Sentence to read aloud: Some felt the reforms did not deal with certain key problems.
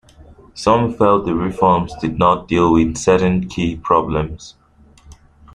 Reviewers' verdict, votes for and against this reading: accepted, 2, 0